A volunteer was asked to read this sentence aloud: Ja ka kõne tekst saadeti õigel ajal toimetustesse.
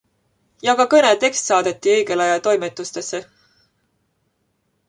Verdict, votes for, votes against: accepted, 2, 0